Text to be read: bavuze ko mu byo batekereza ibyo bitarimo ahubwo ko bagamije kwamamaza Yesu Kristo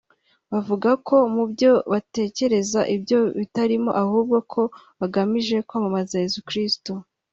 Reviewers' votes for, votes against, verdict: 3, 1, accepted